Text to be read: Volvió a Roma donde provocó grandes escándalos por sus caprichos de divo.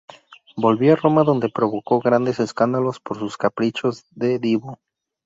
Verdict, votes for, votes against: accepted, 4, 0